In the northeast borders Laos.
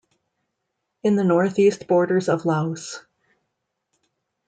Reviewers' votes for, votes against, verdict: 1, 2, rejected